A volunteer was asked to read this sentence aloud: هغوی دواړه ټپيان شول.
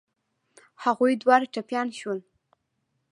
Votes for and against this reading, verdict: 2, 0, accepted